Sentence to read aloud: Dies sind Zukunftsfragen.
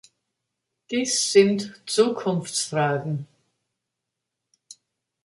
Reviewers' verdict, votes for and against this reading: accepted, 3, 1